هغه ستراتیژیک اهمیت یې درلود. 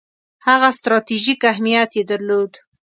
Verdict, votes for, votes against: accepted, 2, 0